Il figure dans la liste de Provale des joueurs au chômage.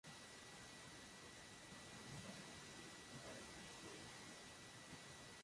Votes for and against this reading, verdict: 0, 2, rejected